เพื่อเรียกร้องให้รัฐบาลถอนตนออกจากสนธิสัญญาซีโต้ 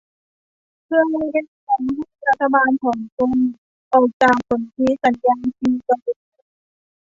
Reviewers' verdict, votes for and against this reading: rejected, 1, 2